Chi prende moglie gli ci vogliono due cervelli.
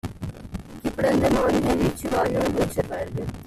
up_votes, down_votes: 0, 2